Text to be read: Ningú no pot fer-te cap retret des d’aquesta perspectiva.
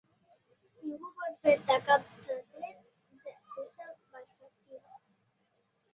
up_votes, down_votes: 0, 2